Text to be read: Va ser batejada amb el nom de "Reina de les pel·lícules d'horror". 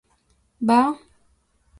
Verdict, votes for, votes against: rejected, 0, 3